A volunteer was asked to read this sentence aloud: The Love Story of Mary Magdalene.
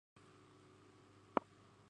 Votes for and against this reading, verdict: 0, 2, rejected